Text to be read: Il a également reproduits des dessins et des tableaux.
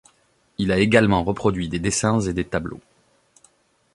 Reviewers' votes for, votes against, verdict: 2, 0, accepted